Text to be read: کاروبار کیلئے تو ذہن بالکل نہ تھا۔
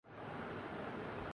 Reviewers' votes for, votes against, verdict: 0, 5, rejected